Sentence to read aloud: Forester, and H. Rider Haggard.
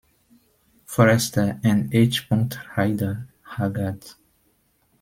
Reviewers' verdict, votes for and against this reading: rejected, 0, 2